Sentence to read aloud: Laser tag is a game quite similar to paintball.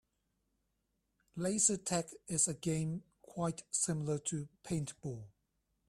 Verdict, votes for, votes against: accepted, 4, 0